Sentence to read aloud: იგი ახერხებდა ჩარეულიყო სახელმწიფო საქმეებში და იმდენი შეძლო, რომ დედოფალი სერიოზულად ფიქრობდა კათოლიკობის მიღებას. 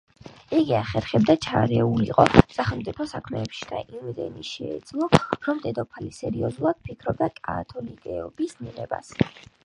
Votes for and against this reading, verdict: 3, 2, accepted